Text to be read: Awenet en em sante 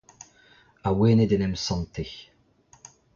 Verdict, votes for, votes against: accepted, 2, 1